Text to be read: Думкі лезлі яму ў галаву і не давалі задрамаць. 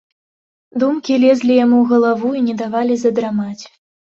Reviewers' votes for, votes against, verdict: 2, 0, accepted